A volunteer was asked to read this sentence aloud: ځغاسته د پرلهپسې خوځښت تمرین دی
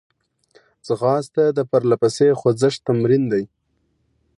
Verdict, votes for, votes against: accepted, 2, 1